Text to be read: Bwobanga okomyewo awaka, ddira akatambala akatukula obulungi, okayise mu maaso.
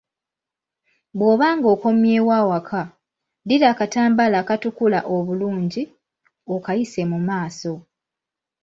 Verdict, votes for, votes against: accepted, 2, 1